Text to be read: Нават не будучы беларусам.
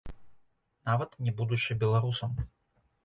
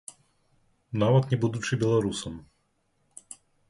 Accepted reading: second